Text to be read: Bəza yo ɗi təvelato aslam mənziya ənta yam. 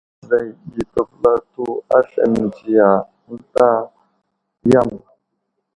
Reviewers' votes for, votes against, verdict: 2, 0, accepted